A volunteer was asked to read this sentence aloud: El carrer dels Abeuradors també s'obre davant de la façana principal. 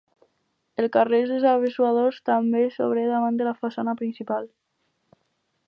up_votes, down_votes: 2, 4